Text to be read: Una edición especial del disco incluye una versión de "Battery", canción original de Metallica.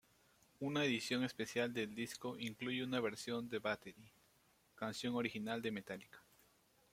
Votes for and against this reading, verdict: 1, 2, rejected